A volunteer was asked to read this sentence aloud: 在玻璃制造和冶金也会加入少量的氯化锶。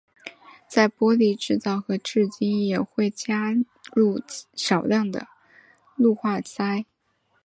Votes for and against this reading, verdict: 0, 2, rejected